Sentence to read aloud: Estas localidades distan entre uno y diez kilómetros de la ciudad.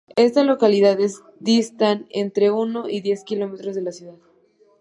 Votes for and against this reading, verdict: 2, 1, accepted